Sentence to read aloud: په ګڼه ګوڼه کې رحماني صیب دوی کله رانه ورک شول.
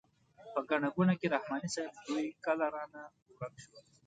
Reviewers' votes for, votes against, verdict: 2, 0, accepted